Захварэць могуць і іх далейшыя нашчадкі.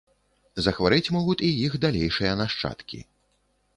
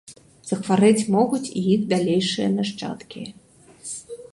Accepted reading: second